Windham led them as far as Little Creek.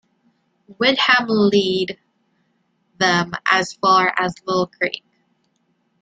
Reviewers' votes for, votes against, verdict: 0, 2, rejected